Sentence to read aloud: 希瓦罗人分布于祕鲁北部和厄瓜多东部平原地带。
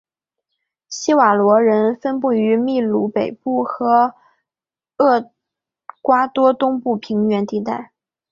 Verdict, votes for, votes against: accepted, 5, 0